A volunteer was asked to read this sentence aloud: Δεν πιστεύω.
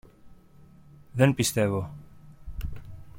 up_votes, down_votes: 2, 0